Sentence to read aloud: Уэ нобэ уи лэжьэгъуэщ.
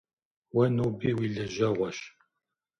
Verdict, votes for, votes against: rejected, 1, 2